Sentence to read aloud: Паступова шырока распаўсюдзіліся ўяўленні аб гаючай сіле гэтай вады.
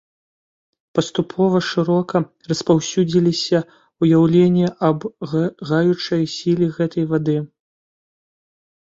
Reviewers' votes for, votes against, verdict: 1, 2, rejected